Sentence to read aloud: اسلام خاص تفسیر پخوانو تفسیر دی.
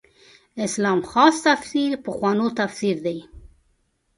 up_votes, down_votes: 2, 0